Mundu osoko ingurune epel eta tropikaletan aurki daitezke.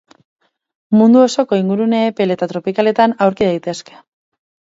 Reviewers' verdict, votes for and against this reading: accepted, 4, 0